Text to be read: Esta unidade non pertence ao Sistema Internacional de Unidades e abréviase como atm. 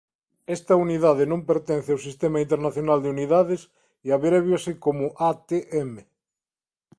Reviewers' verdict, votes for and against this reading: accepted, 2, 0